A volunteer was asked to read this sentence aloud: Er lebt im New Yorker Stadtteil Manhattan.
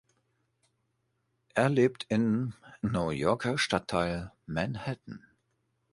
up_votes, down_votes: 1, 2